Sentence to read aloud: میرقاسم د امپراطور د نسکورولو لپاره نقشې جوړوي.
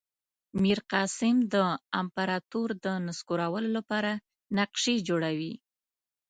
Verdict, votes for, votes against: accepted, 2, 0